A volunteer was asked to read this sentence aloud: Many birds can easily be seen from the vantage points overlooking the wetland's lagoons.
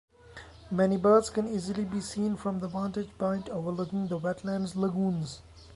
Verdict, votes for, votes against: accepted, 2, 0